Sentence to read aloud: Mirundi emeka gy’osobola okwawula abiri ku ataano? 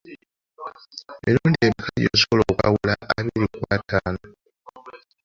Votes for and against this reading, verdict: 0, 2, rejected